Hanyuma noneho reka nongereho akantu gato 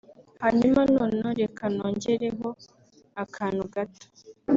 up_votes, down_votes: 2, 0